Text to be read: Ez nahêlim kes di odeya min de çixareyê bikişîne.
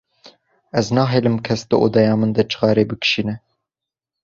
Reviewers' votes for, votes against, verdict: 2, 0, accepted